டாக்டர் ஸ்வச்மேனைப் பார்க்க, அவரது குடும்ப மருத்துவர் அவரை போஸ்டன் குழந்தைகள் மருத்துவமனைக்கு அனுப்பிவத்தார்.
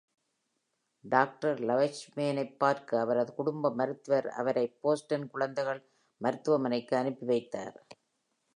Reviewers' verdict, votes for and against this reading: rejected, 1, 2